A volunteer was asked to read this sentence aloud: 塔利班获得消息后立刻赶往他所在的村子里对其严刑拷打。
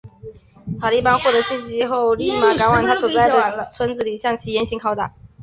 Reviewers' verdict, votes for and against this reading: rejected, 0, 2